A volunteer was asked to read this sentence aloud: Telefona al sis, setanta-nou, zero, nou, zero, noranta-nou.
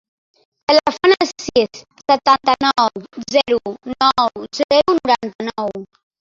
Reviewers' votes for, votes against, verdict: 0, 2, rejected